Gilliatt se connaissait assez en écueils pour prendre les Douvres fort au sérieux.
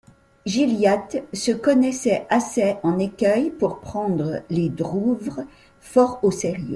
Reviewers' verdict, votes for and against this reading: rejected, 1, 2